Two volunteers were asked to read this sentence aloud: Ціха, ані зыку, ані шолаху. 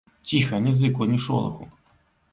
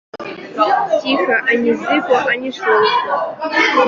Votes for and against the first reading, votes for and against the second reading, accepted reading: 2, 0, 0, 2, first